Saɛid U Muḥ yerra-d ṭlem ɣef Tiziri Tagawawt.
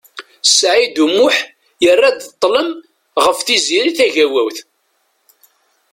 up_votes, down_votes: 2, 0